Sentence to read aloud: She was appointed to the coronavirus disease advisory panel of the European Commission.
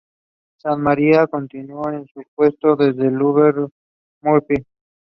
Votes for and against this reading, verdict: 0, 2, rejected